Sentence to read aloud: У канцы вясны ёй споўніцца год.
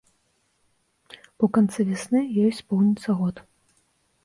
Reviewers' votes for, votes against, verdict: 2, 0, accepted